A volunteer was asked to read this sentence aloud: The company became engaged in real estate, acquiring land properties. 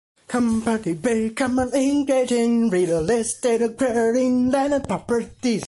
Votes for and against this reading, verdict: 2, 1, accepted